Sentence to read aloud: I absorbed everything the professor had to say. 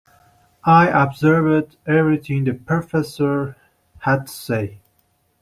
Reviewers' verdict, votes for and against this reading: rejected, 0, 2